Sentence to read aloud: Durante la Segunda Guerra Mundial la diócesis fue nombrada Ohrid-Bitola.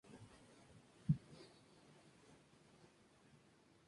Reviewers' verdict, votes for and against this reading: rejected, 0, 4